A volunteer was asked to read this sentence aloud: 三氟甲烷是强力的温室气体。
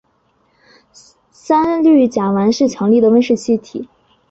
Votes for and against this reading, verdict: 2, 0, accepted